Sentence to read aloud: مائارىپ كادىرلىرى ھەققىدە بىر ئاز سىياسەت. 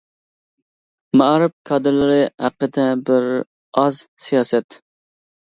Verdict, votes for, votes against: accepted, 2, 0